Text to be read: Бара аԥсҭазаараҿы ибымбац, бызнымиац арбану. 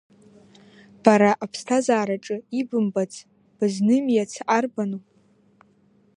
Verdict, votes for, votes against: accepted, 2, 0